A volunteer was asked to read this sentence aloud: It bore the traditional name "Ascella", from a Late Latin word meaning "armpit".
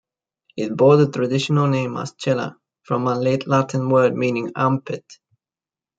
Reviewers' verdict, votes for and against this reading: rejected, 0, 2